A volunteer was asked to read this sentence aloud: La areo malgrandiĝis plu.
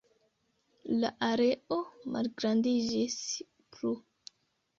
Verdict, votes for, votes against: accepted, 2, 0